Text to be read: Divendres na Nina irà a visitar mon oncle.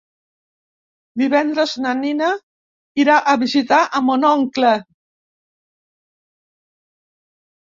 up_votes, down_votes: 1, 2